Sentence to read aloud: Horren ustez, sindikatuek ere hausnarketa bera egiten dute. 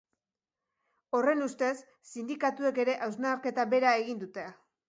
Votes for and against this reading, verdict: 2, 0, accepted